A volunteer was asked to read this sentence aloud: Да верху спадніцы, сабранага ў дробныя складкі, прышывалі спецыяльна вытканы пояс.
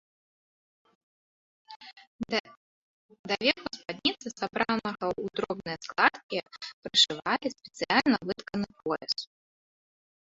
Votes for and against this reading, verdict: 0, 2, rejected